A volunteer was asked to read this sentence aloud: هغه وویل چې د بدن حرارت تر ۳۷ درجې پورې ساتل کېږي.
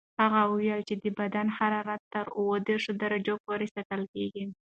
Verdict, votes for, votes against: rejected, 0, 2